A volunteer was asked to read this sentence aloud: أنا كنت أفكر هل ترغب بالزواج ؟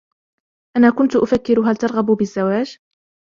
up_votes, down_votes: 2, 0